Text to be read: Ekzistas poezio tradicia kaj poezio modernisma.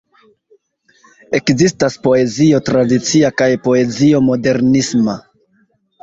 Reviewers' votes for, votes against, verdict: 2, 0, accepted